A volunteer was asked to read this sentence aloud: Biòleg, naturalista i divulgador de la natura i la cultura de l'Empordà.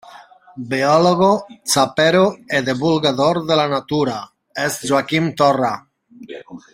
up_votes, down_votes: 0, 2